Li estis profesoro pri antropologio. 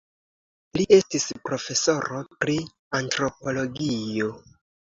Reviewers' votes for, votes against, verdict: 2, 0, accepted